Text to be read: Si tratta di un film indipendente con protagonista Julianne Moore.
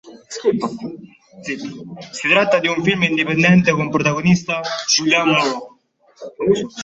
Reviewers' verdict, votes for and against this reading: rejected, 1, 2